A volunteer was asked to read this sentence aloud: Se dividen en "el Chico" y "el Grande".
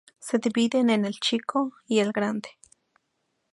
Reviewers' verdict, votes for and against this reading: accepted, 2, 0